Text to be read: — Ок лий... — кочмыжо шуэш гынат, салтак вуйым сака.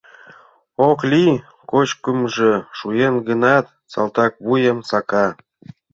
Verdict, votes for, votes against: rejected, 0, 2